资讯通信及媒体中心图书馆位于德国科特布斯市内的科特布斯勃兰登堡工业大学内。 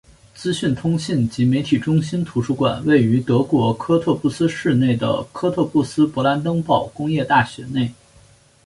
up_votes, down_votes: 3, 1